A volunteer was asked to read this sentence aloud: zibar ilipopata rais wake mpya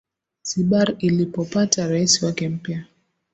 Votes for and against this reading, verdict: 2, 0, accepted